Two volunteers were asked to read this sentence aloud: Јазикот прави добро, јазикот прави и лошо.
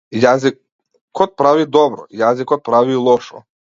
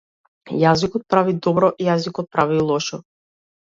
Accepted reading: second